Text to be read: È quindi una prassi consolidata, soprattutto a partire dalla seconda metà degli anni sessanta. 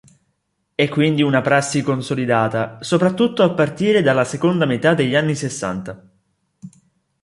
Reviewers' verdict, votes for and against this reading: accepted, 2, 0